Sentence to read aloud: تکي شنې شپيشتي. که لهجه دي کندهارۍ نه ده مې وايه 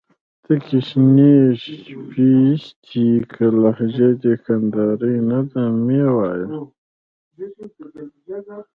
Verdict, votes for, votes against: accepted, 2, 0